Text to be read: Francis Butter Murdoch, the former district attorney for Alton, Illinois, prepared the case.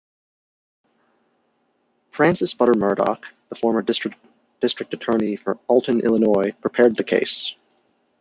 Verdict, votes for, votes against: rejected, 0, 2